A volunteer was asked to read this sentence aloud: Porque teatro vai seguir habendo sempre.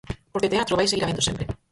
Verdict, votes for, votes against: rejected, 2, 4